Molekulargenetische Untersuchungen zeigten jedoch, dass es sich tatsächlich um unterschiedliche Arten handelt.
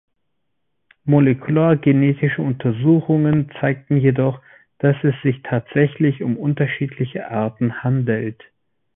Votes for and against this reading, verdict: 2, 0, accepted